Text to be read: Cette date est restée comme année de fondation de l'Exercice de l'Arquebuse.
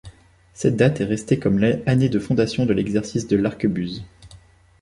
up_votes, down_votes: 1, 2